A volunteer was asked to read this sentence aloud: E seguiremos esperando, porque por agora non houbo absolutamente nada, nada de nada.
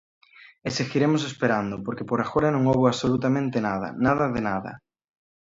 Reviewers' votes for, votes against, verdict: 2, 0, accepted